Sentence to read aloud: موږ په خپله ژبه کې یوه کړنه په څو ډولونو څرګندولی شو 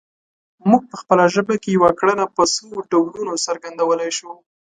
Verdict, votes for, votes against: accepted, 2, 0